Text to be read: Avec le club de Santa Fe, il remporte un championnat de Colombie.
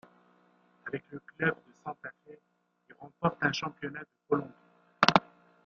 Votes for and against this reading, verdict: 0, 2, rejected